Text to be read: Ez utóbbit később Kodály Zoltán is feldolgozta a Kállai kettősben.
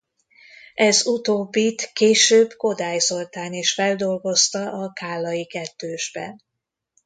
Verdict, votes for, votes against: accepted, 2, 0